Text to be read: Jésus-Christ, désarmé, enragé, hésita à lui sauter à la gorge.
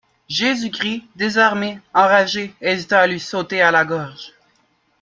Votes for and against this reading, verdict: 2, 0, accepted